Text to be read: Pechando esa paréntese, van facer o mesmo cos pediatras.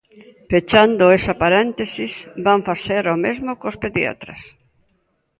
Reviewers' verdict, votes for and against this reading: rejected, 0, 2